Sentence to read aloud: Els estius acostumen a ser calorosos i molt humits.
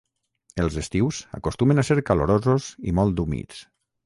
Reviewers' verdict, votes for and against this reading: rejected, 3, 6